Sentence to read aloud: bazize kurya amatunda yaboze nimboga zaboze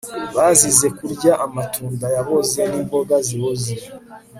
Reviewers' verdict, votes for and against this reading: rejected, 1, 2